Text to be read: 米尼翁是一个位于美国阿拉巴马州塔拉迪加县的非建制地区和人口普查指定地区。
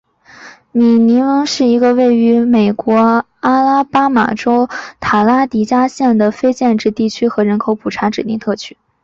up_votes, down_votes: 3, 1